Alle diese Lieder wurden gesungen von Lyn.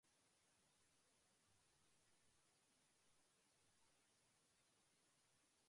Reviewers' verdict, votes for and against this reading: rejected, 0, 2